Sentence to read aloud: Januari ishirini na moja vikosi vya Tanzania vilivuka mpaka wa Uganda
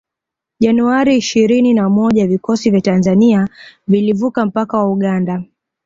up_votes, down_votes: 2, 0